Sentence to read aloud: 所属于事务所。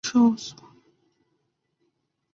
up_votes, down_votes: 0, 3